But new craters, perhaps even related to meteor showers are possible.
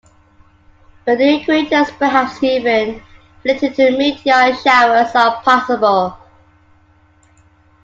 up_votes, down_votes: 2, 0